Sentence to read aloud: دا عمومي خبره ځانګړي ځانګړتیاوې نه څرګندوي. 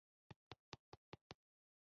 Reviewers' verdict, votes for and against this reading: rejected, 0, 2